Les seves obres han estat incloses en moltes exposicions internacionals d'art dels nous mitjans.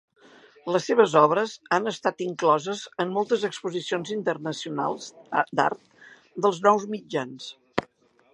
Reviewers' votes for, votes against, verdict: 0, 2, rejected